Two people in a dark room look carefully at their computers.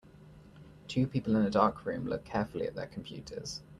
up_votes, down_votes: 2, 0